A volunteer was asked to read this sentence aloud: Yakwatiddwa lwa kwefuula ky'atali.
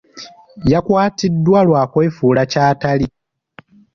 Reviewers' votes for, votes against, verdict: 2, 1, accepted